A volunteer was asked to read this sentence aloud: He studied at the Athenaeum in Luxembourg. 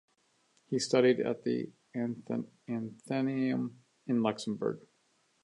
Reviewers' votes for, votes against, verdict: 0, 2, rejected